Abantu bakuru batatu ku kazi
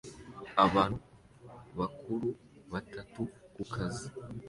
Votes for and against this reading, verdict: 2, 0, accepted